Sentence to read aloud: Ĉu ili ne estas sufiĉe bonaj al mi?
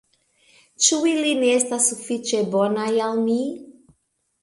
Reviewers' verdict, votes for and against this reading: rejected, 1, 2